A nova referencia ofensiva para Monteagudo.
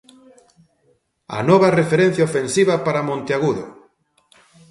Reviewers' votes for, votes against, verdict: 2, 0, accepted